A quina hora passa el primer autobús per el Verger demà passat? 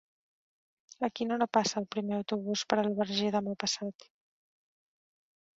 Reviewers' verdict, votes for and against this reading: rejected, 1, 2